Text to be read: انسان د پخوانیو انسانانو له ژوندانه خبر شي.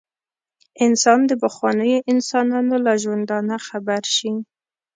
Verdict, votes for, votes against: accepted, 2, 0